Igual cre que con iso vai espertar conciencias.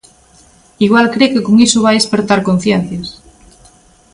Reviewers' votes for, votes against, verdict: 2, 0, accepted